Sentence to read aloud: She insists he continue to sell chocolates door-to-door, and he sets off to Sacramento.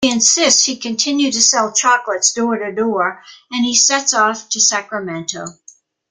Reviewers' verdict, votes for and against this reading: rejected, 0, 2